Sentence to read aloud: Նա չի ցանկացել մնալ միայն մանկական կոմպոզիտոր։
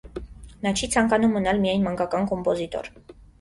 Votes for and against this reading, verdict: 0, 2, rejected